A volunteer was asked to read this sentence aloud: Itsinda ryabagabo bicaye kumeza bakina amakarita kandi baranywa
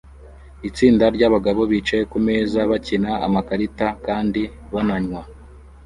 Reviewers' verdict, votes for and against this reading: rejected, 0, 2